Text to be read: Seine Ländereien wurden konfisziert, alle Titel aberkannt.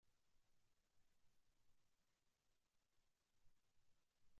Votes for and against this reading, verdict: 0, 2, rejected